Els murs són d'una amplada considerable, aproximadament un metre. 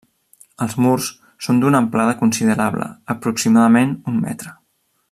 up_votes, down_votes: 3, 0